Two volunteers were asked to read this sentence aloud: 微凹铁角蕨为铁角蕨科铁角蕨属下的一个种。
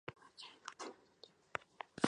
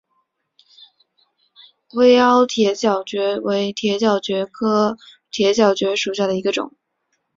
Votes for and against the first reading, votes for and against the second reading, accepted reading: 0, 3, 2, 1, second